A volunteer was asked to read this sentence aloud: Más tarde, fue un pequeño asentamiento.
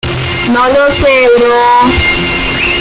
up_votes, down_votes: 0, 2